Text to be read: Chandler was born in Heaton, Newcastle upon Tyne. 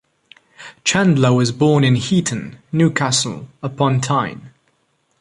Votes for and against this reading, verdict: 2, 0, accepted